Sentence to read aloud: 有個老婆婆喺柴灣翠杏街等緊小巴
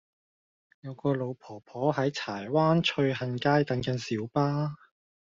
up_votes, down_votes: 2, 0